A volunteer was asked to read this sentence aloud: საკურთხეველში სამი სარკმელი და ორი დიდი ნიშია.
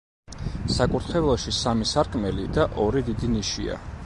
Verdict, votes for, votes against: accepted, 2, 0